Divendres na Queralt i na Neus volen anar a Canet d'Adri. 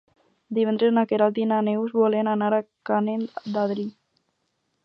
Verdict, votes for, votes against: accepted, 4, 0